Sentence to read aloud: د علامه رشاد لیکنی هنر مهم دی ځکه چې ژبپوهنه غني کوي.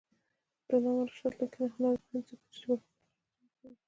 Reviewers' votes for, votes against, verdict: 2, 1, accepted